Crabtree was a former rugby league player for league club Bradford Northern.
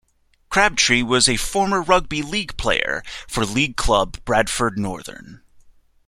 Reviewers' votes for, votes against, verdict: 2, 0, accepted